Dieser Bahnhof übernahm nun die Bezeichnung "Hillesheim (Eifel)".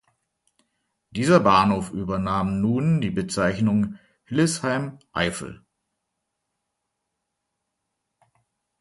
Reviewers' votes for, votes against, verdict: 2, 0, accepted